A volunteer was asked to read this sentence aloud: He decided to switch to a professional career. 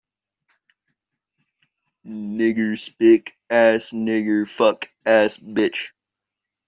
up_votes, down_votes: 0, 2